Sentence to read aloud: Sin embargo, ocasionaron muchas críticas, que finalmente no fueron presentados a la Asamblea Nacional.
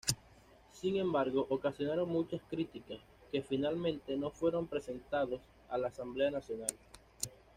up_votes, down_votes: 2, 0